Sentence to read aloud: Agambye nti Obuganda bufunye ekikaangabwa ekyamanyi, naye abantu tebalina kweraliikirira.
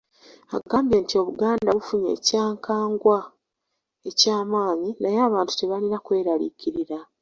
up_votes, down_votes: 0, 2